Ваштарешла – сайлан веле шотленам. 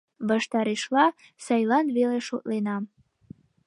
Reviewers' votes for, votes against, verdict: 2, 0, accepted